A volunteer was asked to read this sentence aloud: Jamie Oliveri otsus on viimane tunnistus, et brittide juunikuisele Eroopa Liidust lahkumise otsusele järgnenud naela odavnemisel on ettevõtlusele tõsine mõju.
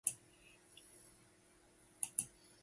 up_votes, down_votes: 0, 2